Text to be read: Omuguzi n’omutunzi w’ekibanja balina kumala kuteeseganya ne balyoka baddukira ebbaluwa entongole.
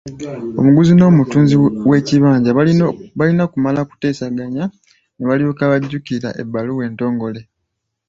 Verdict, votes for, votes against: rejected, 1, 2